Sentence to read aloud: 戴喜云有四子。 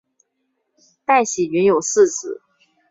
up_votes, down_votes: 2, 0